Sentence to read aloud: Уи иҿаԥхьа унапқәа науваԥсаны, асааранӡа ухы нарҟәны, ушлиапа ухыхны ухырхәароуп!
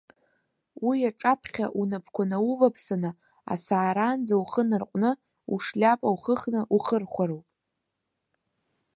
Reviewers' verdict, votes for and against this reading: rejected, 1, 2